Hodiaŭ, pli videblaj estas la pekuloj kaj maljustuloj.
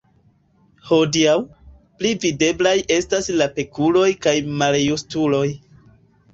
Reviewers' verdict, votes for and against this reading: rejected, 0, 2